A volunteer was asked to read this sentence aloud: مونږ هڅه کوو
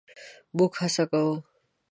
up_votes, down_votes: 1, 2